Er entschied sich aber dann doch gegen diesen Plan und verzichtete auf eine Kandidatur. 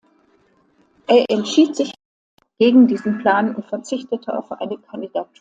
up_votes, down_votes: 0, 2